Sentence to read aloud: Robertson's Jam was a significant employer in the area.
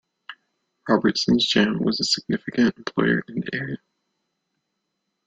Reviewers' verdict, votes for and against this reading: rejected, 1, 2